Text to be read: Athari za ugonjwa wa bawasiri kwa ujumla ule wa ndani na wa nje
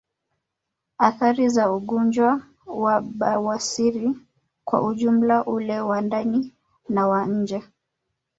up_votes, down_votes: 0, 2